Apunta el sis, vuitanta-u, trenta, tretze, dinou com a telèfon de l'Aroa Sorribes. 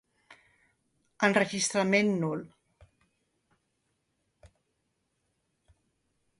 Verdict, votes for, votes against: rejected, 0, 2